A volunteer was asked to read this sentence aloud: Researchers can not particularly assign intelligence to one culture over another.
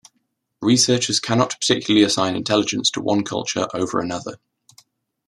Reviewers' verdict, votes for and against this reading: accepted, 2, 0